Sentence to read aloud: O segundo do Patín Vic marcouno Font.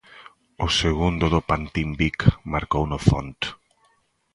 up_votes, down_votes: 0, 2